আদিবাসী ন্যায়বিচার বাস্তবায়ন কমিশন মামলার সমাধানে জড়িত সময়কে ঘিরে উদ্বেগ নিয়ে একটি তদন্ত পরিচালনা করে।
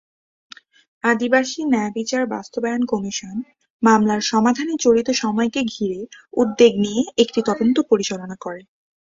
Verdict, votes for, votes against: accepted, 2, 0